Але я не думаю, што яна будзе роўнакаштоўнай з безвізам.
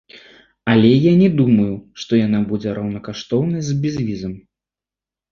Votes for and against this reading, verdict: 2, 0, accepted